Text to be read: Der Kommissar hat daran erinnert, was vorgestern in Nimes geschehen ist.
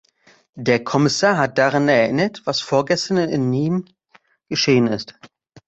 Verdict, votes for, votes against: rejected, 1, 2